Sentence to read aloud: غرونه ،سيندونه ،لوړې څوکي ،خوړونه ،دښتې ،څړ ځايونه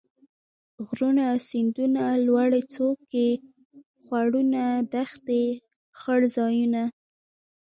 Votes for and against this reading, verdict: 2, 1, accepted